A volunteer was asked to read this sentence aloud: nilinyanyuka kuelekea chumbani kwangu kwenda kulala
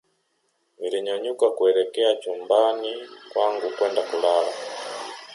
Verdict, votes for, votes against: accepted, 2, 0